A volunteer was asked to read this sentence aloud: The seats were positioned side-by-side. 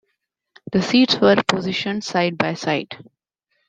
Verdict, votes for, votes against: accepted, 2, 0